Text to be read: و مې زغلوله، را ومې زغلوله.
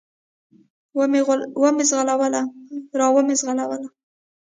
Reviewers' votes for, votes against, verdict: 0, 2, rejected